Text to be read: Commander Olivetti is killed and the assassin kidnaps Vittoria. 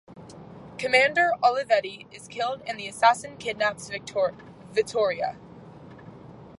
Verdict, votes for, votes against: rejected, 0, 2